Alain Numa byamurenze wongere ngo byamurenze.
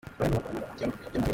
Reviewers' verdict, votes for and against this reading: rejected, 0, 2